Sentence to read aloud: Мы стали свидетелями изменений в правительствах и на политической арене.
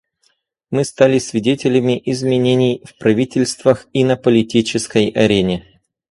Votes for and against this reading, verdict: 0, 2, rejected